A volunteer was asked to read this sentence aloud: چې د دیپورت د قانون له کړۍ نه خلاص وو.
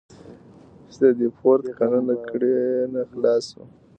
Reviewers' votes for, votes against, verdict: 1, 2, rejected